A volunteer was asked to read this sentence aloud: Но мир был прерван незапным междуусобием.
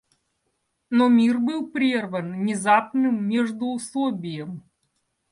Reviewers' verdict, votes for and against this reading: rejected, 0, 2